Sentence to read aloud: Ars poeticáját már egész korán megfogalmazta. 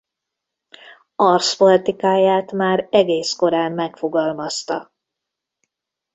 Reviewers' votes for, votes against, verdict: 0, 2, rejected